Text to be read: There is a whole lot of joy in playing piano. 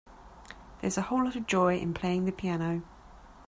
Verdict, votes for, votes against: accepted, 2, 0